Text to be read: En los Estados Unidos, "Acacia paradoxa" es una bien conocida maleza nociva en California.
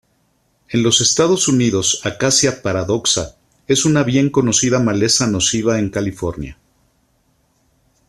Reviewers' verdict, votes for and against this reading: accepted, 2, 0